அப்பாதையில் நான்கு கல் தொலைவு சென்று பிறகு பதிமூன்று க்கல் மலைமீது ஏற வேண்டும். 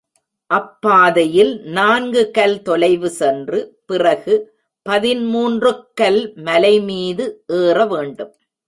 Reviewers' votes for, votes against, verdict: 2, 0, accepted